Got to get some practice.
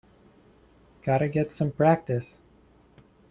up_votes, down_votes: 2, 0